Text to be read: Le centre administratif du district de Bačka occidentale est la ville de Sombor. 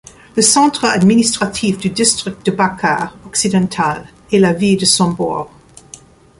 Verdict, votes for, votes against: rejected, 1, 2